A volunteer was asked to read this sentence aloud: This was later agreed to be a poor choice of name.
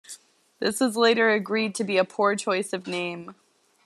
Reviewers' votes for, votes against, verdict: 1, 2, rejected